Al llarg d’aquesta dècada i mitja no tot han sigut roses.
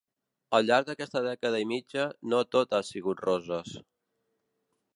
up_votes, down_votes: 0, 2